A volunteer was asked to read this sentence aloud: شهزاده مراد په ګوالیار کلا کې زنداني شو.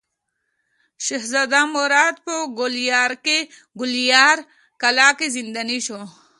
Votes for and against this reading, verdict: 2, 0, accepted